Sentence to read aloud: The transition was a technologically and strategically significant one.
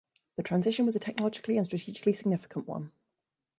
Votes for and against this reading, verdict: 2, 0, accepted